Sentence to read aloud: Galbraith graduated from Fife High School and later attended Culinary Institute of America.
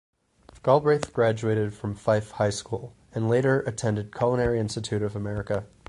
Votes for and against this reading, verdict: 4, 0, accepted